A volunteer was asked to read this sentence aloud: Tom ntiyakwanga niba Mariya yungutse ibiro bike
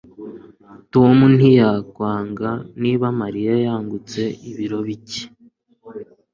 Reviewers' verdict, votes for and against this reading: accepted, 2, 1